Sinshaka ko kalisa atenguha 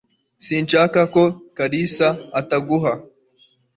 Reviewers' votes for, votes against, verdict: 0, 2, rejected